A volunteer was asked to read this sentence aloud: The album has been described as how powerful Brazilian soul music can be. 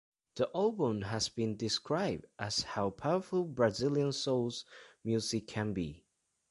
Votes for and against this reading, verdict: 0, 2, rejected